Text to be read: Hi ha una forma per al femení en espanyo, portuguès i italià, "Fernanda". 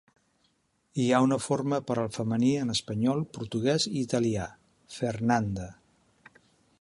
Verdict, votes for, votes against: rejected, 0, 2